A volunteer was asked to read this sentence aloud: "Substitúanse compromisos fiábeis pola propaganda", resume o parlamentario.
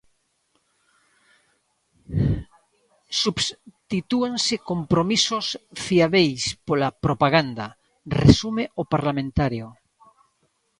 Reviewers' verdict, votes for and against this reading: rejected, 0, 2